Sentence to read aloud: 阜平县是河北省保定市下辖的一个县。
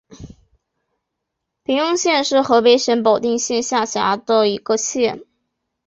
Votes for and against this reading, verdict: 1, 2, rejected